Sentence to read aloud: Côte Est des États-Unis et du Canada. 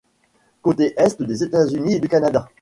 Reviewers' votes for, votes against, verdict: 1, 2, rejected